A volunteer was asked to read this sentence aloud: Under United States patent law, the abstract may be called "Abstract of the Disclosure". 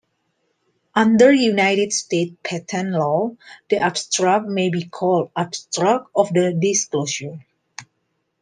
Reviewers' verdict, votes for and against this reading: accepted, 2, 0